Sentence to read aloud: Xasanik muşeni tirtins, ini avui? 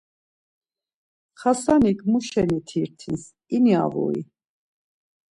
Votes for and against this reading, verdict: 2, 0, accepted